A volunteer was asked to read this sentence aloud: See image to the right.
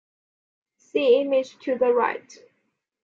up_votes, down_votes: 2, 0